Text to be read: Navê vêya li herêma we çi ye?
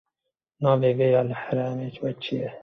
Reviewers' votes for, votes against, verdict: 0, 2, rejected